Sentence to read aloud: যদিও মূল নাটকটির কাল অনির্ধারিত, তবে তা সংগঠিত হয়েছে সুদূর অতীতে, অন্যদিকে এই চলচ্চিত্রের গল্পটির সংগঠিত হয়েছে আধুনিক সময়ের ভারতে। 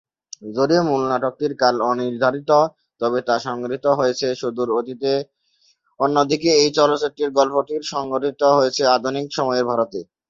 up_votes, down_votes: 0, 2